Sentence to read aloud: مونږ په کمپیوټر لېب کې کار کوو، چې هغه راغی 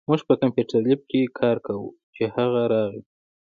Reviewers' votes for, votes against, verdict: 2, 1, accepted